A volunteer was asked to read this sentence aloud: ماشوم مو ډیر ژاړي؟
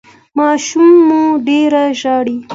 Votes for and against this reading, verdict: 2, 0, accepted